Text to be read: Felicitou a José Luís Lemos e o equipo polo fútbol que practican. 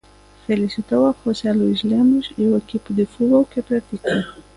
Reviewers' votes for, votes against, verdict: 0, 2, rejected